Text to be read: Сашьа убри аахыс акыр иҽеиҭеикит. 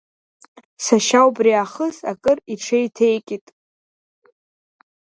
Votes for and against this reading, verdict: 2, 0, accepted